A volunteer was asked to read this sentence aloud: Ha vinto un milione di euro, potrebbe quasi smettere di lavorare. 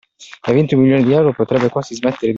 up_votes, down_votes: 0, 2